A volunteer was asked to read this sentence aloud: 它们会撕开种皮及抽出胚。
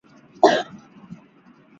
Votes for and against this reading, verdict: 0, 2, rejected